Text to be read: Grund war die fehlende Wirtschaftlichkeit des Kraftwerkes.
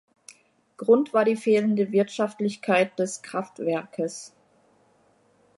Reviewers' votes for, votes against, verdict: 2, 0, accepted